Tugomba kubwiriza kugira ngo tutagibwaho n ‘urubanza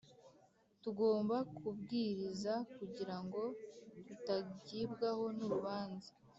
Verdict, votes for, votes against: rejected, 1, 2